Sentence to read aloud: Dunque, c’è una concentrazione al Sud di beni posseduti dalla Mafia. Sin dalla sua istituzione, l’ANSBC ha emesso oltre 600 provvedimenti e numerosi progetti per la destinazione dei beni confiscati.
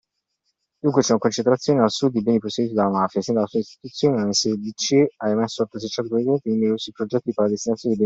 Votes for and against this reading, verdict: 0, 2, rejected